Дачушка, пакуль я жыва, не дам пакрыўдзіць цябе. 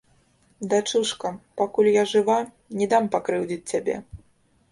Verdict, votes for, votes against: rejected, 1, 2